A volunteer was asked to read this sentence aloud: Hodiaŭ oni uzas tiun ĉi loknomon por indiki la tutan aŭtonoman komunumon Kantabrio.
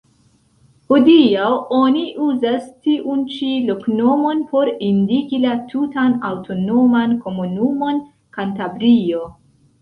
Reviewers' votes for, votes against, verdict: 1, 2, rejected